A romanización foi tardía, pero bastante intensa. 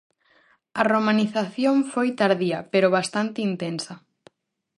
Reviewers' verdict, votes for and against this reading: accepted, 4, 0